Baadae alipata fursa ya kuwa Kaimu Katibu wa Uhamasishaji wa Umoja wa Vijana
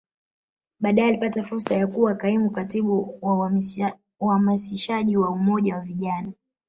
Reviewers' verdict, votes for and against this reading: accepted, 3, 1